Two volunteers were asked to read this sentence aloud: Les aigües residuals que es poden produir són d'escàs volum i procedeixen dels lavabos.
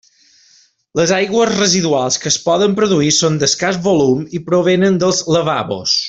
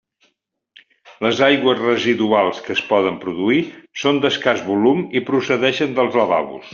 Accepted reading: second